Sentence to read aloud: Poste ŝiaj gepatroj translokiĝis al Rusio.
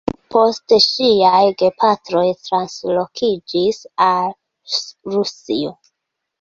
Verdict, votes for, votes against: rejected, 0, 2